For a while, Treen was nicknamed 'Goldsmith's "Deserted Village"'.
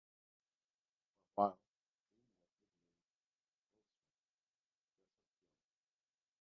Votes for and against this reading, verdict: 0, 2, rejected